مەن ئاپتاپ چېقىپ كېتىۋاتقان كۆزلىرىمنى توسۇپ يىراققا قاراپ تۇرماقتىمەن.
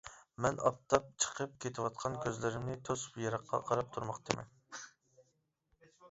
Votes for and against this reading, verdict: 0, 2, rejected